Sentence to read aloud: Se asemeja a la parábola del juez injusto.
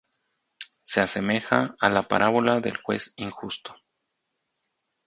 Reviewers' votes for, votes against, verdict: 2, 0, accepted